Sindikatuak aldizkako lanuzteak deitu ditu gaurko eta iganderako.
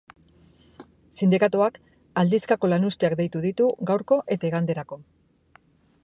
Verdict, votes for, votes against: accepted, 2, 0